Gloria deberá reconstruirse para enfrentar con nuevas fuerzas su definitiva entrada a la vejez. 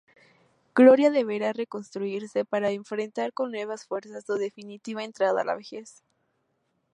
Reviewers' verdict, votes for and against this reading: accepted, 2, 0